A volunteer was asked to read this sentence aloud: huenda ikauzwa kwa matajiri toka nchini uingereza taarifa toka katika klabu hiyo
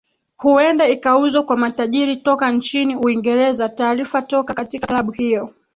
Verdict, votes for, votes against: rejected, 2, 3